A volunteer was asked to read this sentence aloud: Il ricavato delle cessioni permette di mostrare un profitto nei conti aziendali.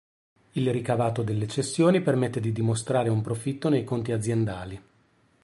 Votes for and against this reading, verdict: 2, 3, rejected